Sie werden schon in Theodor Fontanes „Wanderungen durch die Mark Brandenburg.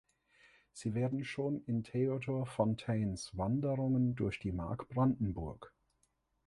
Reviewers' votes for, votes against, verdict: 0, 2, rejected